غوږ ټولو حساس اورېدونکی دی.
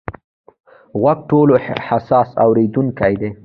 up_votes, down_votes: 2, 1